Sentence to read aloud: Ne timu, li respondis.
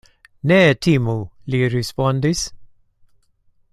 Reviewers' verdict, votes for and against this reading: accepted, 2, 0